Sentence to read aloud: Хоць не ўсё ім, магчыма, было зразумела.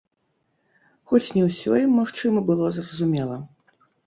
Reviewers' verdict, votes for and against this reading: rejected, 1, 2